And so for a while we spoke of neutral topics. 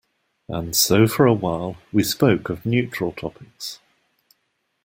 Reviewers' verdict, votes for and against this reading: accepted, 2, 0